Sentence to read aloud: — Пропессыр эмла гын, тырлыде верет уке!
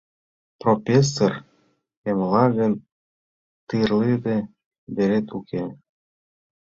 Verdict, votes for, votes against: rejected, 0, 2